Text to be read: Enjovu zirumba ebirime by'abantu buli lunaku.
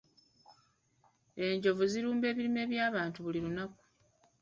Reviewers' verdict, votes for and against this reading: accepted, 2, 1